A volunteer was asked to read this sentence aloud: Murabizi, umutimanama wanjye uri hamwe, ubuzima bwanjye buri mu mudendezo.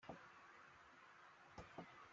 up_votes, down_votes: 0, 2